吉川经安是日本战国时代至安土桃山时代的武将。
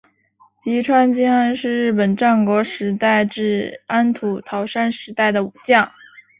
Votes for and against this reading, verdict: 4, 0, accepted